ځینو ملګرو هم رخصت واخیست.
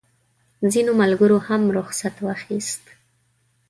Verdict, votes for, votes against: accepted, 3, 0